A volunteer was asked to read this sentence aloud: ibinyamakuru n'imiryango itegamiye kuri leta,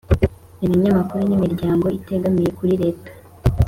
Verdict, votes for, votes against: accepted, 3, 0